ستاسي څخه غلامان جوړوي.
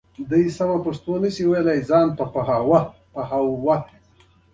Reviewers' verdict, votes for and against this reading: accepted, 2, 0